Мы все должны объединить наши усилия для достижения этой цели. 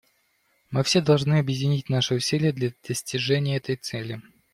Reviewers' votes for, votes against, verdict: 2, 0, accepted